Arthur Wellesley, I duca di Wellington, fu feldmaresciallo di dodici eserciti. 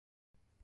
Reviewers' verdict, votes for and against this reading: rejected, 0, 2